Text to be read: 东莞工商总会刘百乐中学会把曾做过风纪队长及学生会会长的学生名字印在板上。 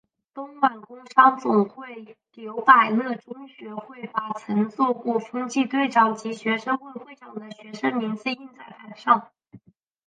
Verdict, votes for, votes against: accepted, 4, 2